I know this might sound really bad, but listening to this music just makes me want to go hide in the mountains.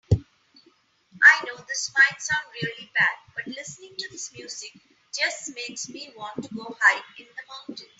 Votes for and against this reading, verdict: 2, 1, accepted